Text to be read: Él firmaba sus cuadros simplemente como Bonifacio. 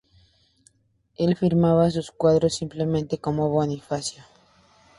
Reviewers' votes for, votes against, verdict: 2, 0, accepted